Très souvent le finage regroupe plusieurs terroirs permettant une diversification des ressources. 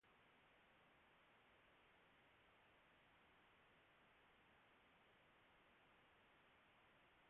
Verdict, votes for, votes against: rejected, 0, 2